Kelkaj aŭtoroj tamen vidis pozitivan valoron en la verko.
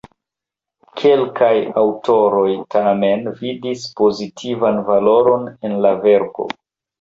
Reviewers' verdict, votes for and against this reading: rejected, 1, 2